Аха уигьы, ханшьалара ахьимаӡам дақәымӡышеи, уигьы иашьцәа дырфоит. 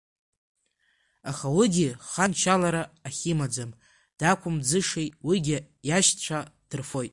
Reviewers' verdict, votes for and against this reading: rejected, 0, 2